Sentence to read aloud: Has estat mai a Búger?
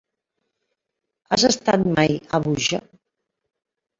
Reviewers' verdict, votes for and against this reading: rejected, 1, 2